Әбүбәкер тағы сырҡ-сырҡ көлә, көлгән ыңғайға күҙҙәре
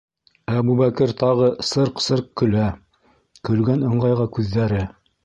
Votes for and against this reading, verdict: 2, 0, accepted